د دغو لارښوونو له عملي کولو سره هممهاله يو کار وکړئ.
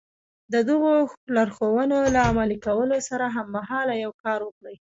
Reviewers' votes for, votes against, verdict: 2, 0, accepted